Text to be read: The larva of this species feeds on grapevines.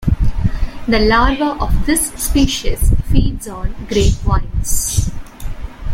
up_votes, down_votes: 2, 1